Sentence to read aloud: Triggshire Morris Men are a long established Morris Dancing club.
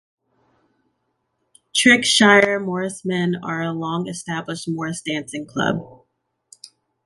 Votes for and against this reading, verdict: 2, 0, accepted